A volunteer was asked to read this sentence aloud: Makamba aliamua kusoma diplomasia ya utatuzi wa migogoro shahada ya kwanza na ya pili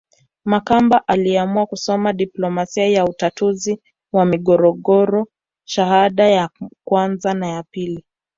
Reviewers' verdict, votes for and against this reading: accepted, 2, 0